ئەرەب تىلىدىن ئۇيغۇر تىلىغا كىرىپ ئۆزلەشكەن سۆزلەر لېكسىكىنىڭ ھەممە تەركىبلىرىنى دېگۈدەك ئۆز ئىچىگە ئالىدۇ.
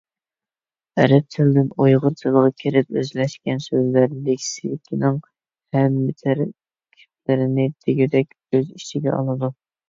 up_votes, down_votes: 0, 2